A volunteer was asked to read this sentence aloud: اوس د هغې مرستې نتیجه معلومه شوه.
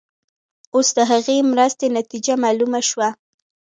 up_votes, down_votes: 2, 1